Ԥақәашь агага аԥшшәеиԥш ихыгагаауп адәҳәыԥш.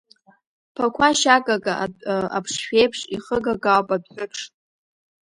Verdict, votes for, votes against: accepted, 2, 0